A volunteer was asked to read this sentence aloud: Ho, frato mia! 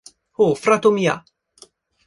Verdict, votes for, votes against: accepted, 2, 0